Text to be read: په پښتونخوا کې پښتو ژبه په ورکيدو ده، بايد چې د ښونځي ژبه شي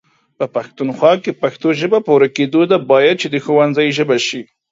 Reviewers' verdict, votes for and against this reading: accepted, 2, 1